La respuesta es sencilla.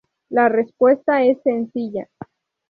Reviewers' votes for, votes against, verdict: 0, 2, rejected